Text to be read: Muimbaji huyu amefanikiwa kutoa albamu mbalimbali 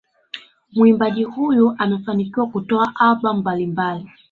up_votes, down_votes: 2, 0